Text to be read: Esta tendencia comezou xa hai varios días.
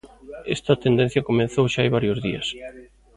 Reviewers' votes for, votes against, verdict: 1, 2, rejected